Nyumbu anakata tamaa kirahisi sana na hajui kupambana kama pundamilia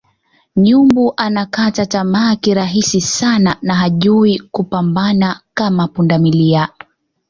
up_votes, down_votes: 2, 0